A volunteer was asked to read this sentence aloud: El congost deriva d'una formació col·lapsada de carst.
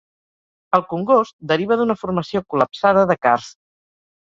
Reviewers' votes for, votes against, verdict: 3, 0, accepted